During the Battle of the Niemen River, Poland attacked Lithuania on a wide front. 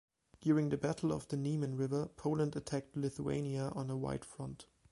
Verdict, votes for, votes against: accepted, 2, 0